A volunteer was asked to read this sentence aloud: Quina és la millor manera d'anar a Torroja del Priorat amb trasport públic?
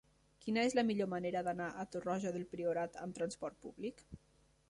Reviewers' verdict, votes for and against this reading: accepted, 3, 0